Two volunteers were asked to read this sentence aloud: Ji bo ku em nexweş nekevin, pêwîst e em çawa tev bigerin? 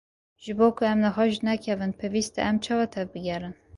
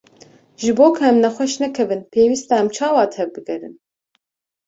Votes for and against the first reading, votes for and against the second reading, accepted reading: 0, 2, 2, 0, second